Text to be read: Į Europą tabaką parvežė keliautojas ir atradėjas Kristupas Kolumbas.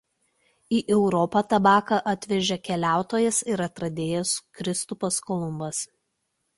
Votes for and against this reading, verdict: 0, 2, rejected